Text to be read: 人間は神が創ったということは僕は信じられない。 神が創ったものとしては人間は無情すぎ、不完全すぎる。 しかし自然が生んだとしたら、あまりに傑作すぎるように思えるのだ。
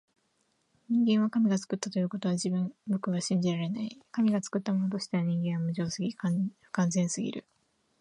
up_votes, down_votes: 2, 0